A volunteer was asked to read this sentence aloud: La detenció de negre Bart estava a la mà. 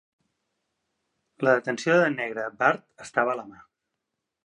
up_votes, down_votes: 2, 0